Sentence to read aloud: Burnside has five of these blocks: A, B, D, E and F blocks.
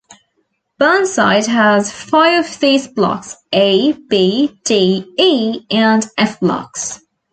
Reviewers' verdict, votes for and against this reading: accepted, 2, 0